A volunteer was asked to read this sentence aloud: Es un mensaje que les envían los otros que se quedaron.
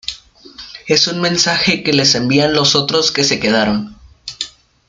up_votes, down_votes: 2, 1